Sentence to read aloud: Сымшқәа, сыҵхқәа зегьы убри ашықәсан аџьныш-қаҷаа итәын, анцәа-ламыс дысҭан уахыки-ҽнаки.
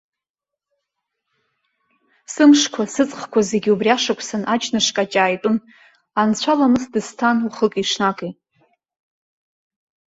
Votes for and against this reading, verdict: 2, 1, accepted